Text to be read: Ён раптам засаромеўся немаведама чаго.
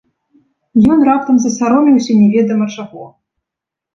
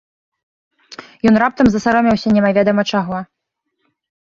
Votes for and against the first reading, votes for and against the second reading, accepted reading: 1, 2, 2, 0, second